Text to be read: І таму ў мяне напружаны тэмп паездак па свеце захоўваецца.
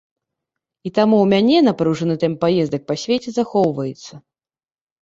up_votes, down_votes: 2, 0